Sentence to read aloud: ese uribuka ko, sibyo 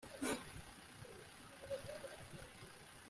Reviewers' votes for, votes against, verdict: 0, 3, rejected